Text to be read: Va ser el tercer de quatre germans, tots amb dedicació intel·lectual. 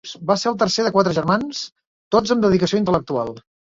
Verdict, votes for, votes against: accepted, 2, 0